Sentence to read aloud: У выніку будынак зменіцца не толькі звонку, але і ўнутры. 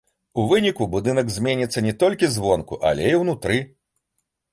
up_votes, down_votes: 3, 0